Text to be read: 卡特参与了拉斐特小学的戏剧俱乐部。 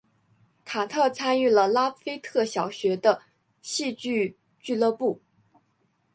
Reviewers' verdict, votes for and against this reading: accepted, 3, 0